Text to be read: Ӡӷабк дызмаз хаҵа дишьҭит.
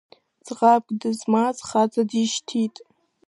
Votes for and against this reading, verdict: 2, 0, accepted